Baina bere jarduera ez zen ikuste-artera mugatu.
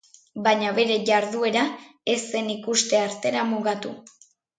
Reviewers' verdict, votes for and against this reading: accepted, 5, 1